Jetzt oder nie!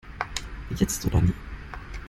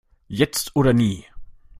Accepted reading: second